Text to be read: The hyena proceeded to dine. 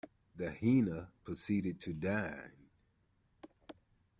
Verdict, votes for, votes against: rejected, 0, 2